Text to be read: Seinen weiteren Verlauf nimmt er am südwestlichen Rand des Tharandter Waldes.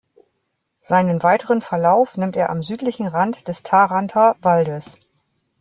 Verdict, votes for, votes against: rejected, 0, 2